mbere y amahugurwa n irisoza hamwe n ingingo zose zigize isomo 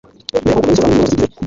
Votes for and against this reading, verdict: 0, 2, rejected